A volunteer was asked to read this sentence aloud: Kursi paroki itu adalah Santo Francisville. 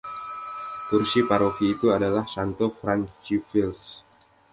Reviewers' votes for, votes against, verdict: 2, 1, accepted